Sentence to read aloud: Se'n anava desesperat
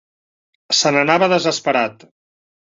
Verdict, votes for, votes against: accepted, 2, 0